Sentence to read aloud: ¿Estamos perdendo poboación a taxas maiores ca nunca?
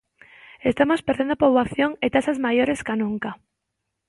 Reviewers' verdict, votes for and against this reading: rejected, 1, 2